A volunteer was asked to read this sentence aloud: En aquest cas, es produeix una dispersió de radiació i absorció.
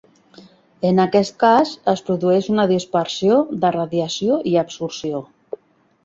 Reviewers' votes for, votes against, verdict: 3, 0, accepted